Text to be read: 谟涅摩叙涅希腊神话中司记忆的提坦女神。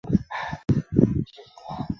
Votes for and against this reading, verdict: 1, 3, rejected